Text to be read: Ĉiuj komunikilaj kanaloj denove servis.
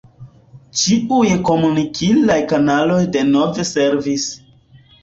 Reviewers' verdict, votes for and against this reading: accepted, 2, 1